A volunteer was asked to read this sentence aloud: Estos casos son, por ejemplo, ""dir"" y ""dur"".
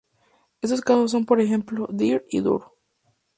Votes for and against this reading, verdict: 2, 2, rejected